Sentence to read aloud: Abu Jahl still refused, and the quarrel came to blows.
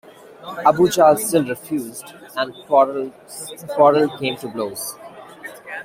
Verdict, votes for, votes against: rejected, 1, 2